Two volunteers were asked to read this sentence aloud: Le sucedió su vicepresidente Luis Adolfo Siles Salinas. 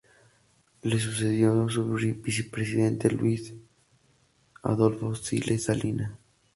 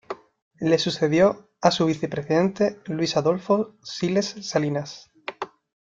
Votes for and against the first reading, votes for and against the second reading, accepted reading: 2, 0, 0, 2, first